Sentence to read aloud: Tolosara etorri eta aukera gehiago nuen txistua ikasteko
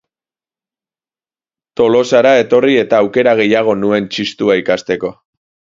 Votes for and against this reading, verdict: 4, 0, accepted